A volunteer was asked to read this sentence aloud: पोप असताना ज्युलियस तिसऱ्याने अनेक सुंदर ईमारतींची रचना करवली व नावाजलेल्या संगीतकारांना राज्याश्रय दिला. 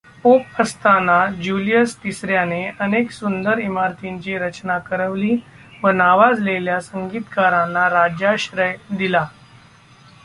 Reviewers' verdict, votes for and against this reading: accepted, 2, 1